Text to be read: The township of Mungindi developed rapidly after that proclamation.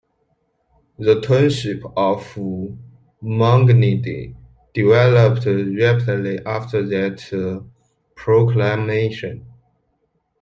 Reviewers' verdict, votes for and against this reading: rejected, 1, 2